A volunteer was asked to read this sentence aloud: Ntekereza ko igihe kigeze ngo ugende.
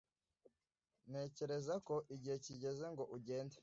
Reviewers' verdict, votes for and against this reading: accepted, 2, 0